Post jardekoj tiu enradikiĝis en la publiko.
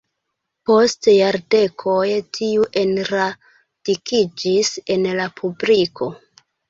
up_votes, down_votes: 0, 2